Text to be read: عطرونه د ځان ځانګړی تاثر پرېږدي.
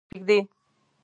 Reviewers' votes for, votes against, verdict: 1, 2, rejected